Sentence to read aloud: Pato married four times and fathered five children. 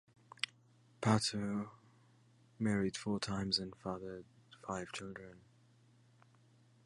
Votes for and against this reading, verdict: 1, 2, rejected